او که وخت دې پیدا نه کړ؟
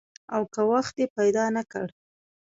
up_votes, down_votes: 2, 0